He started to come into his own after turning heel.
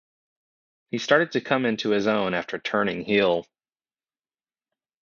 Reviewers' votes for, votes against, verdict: 2, 0, accepted